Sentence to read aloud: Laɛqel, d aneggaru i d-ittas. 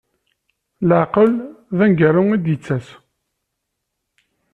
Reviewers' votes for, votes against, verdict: 2, 0, accepted